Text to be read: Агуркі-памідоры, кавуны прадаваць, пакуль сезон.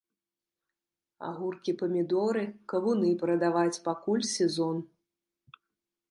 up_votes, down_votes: 2, 0